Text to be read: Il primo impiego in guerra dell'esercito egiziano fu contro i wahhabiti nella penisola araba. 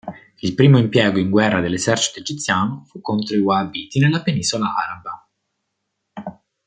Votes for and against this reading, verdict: 2, 0, accepted